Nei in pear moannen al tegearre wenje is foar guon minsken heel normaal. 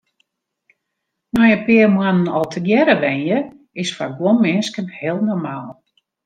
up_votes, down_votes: 2, 0